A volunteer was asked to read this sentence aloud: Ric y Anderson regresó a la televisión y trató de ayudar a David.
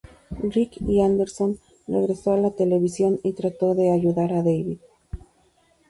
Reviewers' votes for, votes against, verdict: 2, 0, accepted